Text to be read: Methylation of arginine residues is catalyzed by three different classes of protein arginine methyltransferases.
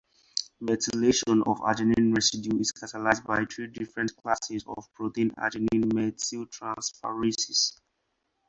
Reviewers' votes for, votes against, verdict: 0, 2, rejected